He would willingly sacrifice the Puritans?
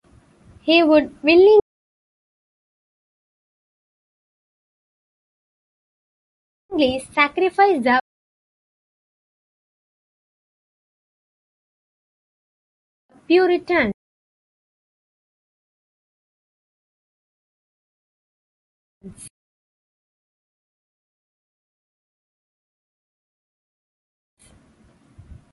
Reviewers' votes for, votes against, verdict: 0, 2, rejected